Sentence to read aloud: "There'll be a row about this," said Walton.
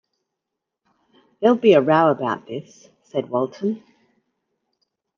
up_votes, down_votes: 2, 0